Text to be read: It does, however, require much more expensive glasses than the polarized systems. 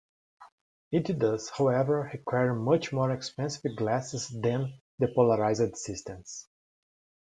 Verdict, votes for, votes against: accepted, 2, 0